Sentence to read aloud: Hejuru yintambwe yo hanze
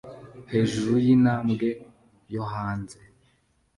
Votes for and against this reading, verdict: 2, 0, accepted